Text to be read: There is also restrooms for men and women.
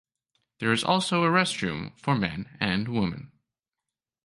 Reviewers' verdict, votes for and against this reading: rejected, 1, 2